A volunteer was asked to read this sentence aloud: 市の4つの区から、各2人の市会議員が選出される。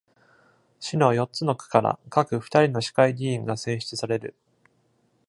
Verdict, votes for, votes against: rejected, 0, 2